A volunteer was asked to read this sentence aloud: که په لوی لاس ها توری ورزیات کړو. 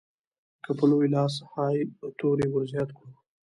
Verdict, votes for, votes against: rejected, 1, 2